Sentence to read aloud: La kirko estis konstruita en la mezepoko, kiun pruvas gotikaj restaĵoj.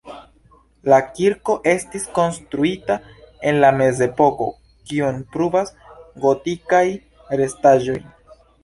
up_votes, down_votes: 0, 2